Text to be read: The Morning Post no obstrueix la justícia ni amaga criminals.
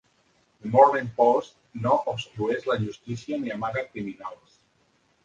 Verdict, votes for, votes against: rejected, 1, 2